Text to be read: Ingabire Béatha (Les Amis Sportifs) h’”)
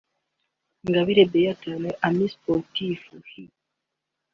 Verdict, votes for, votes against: accepted, 2, 0